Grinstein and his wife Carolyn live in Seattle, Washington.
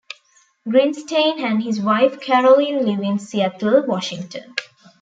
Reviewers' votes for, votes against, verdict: 2, 0, accepted